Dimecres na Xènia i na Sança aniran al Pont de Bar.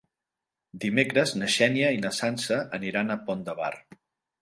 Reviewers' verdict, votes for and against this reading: rejected, 1, 2